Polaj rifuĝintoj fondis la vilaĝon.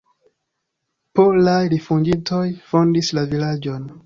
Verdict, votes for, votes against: accepted, 2, 1